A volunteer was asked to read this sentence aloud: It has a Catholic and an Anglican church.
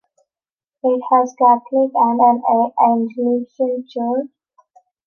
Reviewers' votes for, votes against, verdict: 0, 2, rejected